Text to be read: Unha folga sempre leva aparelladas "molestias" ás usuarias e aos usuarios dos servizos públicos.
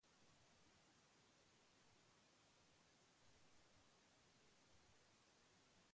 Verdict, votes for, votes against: rejected, 0, 2